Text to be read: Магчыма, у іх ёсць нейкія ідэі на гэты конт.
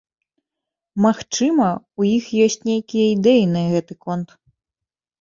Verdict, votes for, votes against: accepted, 2, 0